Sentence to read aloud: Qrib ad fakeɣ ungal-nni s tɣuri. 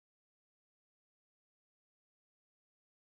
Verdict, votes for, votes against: rejected, 0, 2